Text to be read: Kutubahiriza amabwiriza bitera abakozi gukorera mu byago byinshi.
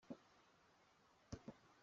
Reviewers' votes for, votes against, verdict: 0, 2, rejected